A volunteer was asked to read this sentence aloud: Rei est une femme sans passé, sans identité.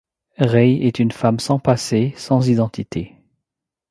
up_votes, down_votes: 2, 0